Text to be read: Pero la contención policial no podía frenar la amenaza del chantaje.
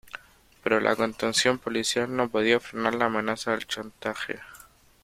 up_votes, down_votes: 2, 0